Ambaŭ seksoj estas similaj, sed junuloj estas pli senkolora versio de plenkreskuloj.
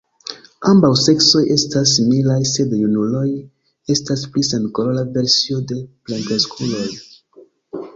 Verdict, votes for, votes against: accepted, 2, 1